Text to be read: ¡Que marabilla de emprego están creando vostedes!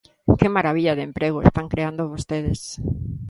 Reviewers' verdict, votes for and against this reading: accepted, 2, 0